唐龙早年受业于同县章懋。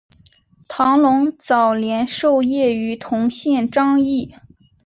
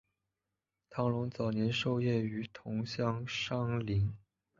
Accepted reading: first